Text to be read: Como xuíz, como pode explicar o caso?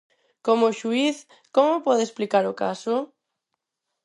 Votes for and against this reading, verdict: 4, 0, accepted